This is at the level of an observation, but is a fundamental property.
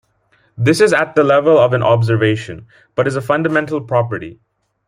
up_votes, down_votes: 2, 0